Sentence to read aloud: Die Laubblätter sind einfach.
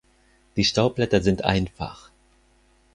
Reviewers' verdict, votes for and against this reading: rejected, 0, 4